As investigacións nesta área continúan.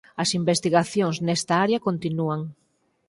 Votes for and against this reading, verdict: 4, 0, accepted